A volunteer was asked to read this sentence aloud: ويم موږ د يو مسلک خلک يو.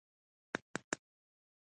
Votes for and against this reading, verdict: 1, 2, rejected